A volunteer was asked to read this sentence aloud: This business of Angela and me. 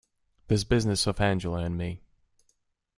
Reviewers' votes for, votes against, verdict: 2, 0, accepted